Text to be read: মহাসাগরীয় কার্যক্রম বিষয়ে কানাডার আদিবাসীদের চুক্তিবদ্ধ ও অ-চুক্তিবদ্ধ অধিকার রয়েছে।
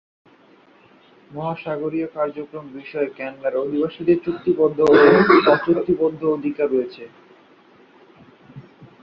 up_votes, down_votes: 0, 2